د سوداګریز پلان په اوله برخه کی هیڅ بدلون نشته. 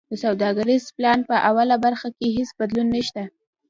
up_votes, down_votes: 2, 0